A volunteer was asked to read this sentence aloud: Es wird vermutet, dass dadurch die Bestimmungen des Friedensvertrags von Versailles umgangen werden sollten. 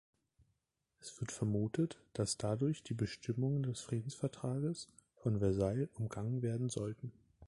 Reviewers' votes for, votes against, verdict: 1, 2, rejected